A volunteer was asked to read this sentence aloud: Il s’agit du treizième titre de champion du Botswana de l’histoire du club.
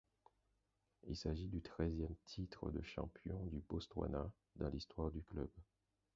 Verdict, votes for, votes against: rejected, 0, 4